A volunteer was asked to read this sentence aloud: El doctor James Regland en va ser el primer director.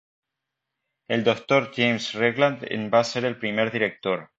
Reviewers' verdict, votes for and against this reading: accepted, 2, 0